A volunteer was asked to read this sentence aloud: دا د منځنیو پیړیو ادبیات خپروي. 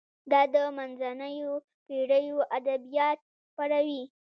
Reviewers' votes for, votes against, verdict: 1, 2, rejected